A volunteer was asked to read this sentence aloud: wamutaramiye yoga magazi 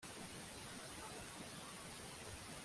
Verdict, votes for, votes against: rejected, 0, 2